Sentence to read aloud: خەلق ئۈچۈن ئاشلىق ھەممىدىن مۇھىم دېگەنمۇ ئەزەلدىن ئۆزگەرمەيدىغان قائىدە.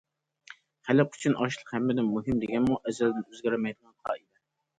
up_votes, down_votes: 2, 0